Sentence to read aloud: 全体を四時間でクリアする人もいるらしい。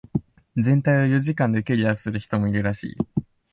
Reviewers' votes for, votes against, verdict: 2, 0, accepted